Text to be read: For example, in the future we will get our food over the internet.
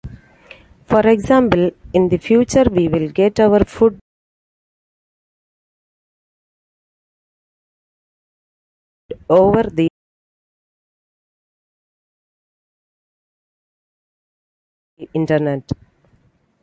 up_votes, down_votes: 0, 2